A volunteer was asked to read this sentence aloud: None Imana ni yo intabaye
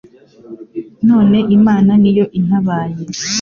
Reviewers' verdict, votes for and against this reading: accepted, 2, 0